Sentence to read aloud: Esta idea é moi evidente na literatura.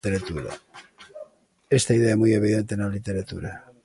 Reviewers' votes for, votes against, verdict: 0, 2, rejected